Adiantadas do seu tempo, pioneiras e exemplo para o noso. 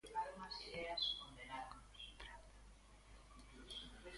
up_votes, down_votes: 0, 2